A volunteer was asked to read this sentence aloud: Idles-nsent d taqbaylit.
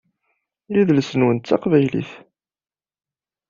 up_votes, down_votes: 0, 2